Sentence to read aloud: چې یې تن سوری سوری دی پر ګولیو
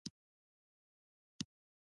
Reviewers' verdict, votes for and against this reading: rejected, 1, 2